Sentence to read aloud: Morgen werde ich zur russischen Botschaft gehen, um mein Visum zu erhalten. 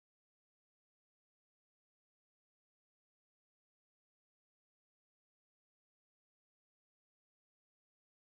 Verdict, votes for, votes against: rejected, 0, 2